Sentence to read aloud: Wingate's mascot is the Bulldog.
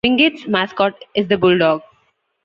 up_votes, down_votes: 2, 0